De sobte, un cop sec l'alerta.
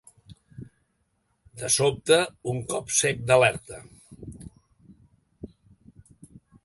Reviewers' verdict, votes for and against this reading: rejected, 1, 2